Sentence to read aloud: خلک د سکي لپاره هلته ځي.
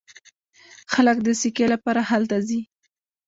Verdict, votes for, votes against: rejected, 0, 2